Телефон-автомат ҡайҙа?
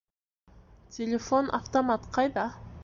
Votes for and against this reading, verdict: 2, 1, accepted